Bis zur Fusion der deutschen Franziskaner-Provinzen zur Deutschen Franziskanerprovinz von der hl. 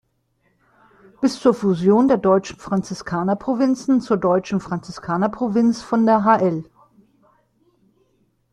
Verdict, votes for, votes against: rejected, 1, 2